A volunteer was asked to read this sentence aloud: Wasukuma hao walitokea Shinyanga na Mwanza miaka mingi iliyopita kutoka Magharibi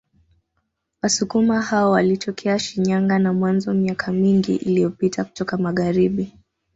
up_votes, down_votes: 2, 1